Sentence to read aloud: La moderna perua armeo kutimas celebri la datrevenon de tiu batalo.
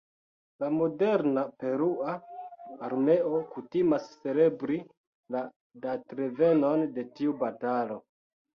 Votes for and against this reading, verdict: 2, 0, accepted